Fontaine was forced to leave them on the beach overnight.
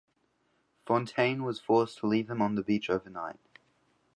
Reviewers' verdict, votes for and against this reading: accepted, 3, 0